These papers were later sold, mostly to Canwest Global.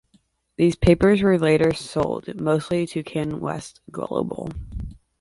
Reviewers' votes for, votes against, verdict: 0, 2, rejected